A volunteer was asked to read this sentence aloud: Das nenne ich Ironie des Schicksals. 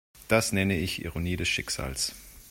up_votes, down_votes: 2, 0